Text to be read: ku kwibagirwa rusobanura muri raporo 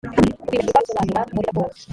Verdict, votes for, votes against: rejected, 1, 2